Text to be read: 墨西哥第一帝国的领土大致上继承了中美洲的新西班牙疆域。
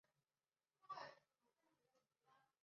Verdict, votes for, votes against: rejected, 0, 2